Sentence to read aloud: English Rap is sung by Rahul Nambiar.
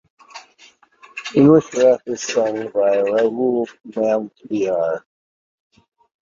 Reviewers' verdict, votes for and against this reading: accepted, 2, 0